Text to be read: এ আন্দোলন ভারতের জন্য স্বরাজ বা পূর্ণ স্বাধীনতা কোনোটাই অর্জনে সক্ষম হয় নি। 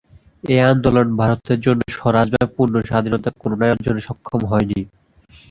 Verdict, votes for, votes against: rejected, 0, 2